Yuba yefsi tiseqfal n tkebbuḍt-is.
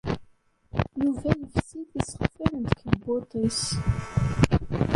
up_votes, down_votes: 1, 2